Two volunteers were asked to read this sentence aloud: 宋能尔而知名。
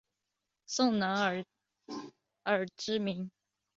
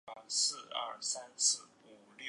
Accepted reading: first